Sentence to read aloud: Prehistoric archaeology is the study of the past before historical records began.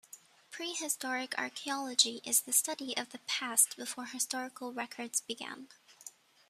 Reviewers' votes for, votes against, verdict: 2, 1, accepted